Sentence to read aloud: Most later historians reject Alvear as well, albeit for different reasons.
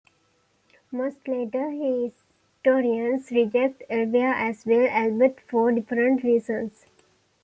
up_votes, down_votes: 2, 1